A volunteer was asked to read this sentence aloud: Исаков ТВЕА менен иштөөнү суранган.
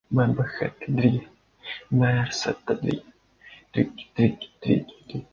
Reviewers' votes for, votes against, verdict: 0, 2, rejected